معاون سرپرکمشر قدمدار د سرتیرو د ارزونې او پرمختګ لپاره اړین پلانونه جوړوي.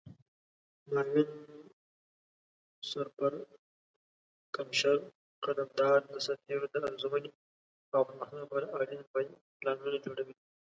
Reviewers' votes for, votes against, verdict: 0, 2, rejected